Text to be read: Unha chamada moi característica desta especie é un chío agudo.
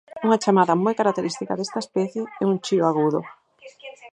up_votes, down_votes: 2, 4